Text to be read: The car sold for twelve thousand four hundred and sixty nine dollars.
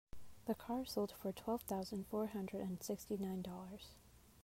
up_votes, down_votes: 2, 0